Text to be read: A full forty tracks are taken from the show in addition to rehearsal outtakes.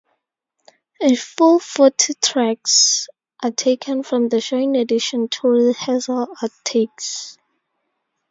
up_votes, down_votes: 4, 2